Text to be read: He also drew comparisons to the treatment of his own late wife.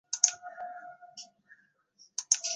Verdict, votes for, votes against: rejected, 0, 2